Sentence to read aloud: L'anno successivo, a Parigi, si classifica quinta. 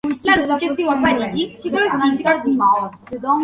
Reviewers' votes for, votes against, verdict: 0, 2, rejected